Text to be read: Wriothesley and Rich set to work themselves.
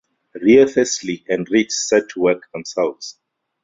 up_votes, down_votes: 0, 2